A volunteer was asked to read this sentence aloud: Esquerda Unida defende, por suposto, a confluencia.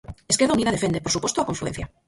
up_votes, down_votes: 0, 4